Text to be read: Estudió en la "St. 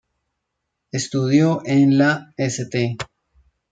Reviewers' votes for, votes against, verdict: 1, 2, rejected